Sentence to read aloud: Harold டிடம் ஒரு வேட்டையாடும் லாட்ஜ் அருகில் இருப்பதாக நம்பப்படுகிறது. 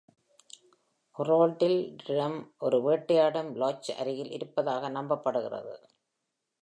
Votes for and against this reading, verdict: 2, 1, accepted